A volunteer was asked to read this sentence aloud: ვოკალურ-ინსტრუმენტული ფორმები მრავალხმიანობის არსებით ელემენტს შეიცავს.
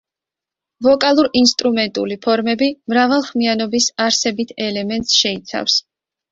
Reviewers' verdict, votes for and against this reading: accepted, 2, 0